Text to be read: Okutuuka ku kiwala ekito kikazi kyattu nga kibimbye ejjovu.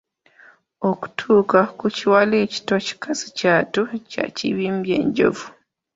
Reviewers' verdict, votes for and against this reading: rejected, 0, 2